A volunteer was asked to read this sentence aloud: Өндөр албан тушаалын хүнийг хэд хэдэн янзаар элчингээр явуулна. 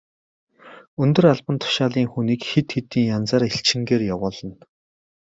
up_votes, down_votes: 2, 0